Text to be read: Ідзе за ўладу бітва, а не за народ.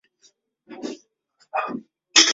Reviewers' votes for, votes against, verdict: 0, 2, rejected